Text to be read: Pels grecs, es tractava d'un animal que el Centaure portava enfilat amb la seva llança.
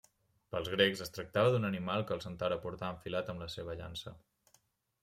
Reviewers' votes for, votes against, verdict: 2, 0, accepted